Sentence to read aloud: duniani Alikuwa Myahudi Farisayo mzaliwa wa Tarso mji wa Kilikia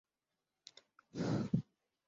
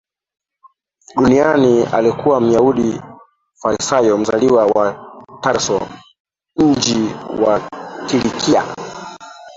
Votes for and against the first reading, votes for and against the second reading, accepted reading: 0, 5, 2, 1, second